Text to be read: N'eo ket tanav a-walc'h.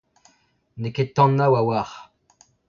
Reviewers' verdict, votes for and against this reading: accepted, 2, 1